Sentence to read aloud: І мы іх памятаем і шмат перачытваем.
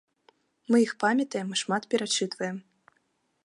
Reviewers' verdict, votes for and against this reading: rejected, 1, 2